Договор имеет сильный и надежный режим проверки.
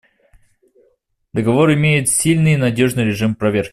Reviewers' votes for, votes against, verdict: 1, 2, rejected